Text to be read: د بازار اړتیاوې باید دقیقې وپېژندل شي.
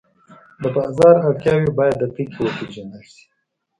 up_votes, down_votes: 2, 0